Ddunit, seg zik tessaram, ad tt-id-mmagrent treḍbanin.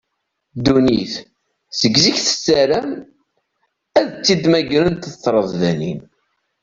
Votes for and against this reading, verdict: 0, 2, rejected